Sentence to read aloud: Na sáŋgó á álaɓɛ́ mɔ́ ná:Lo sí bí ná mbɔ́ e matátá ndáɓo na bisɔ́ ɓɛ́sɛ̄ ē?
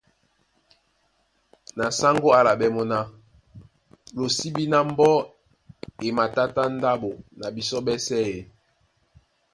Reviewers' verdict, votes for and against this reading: accepted, 2, 0